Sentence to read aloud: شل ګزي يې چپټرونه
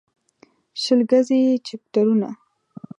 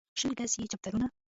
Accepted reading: first